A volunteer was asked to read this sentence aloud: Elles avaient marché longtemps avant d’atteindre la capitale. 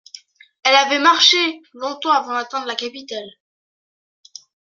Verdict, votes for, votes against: rejected, 1, 2